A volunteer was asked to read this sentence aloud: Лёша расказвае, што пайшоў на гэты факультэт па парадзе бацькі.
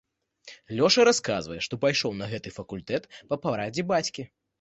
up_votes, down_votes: 2, 0